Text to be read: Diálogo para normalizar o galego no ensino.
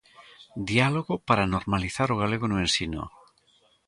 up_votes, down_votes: 2, 1